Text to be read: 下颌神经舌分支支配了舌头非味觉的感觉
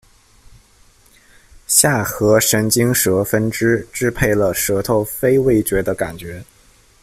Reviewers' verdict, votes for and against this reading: accepted, 2, 0